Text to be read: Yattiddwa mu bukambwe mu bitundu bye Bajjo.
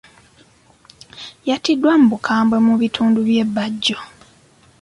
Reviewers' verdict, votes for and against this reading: accepted, 2, 0